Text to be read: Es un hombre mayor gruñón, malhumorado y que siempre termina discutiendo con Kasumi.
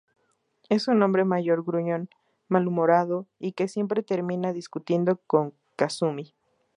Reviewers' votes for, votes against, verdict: 4, 0, accepted